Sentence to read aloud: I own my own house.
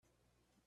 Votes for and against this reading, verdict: 0, 2, rejected